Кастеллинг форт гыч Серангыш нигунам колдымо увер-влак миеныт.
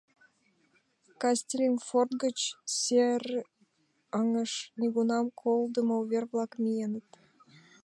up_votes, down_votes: 0, 2